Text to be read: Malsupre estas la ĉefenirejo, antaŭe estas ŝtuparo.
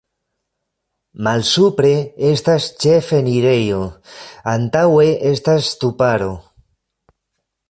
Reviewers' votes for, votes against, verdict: 0, 2, rejected